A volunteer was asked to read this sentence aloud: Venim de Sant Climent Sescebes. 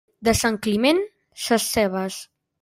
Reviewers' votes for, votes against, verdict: 0, 2, rejected